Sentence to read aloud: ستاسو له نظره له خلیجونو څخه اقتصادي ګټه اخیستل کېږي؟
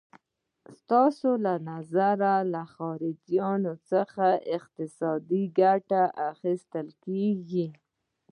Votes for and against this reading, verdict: 2, 0, accepted